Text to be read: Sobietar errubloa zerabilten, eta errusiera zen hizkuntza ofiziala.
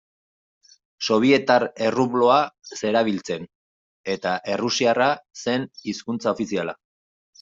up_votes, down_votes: 0, 2